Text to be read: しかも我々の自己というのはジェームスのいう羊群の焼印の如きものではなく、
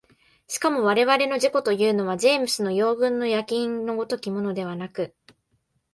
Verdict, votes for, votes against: rejected, 1, 2